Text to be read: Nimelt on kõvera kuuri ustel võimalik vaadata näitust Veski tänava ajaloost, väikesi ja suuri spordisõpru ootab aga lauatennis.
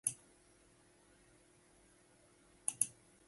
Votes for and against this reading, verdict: 0, 2, rejected